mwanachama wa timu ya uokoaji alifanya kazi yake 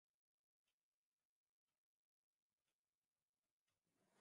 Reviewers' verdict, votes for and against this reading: rejected, 0, 6